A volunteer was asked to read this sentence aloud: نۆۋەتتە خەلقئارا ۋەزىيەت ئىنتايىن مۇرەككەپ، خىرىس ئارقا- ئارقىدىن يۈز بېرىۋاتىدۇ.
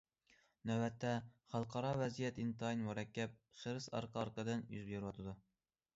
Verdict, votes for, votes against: accepted, 2, 0